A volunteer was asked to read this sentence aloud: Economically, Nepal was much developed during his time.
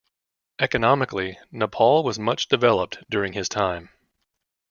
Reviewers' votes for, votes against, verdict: 2, 0, accepted